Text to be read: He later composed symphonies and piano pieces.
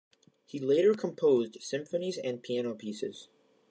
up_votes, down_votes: 2, 0